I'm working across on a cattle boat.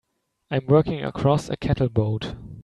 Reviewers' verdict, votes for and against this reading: rejected, 1, 2